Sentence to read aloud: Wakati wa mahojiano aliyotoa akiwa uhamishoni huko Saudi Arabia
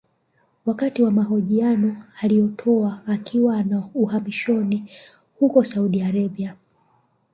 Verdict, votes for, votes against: accepted, 2, 0